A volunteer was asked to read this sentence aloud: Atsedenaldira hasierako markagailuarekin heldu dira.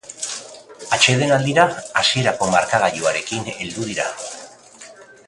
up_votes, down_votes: 0, 2